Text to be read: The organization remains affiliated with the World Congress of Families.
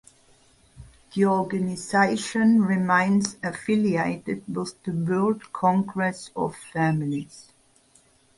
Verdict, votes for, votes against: rejected, 2, 2